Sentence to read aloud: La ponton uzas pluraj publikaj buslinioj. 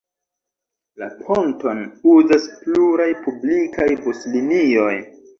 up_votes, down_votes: 2, 1